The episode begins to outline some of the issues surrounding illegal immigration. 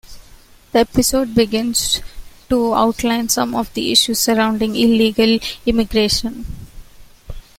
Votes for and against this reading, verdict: 2, 0, accepted